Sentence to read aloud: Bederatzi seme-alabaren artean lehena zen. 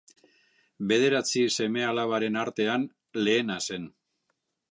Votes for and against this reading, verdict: 2, 0, accepted